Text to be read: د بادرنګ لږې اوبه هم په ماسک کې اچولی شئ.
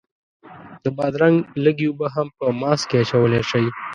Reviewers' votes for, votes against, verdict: 2, 0, accepted